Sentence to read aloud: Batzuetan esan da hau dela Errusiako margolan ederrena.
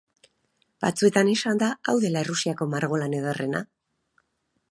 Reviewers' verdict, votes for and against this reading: rejected, 2, 2